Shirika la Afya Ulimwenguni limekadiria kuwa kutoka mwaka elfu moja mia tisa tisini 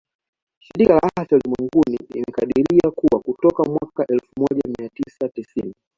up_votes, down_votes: 0, 2